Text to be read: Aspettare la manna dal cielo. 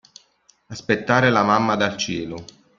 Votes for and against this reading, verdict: 1, 2, rejected